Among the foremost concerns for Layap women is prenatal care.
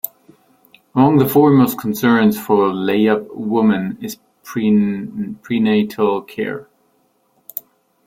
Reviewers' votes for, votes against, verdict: 1, 2, rejected